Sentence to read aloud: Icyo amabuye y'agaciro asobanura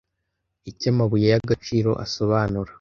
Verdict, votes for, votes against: accepted, 2, 0